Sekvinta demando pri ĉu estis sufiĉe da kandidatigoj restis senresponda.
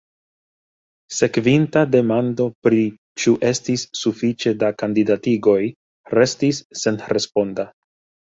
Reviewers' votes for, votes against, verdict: 2, 1, accepted